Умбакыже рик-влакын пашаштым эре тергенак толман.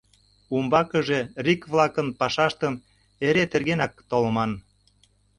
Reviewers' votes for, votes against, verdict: 2, 0, accepted